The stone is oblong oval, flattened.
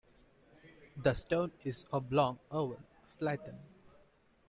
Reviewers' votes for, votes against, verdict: 2, 1, accepted